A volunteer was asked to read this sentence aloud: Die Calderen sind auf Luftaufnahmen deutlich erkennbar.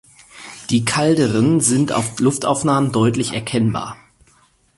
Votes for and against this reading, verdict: 0, 4, rejected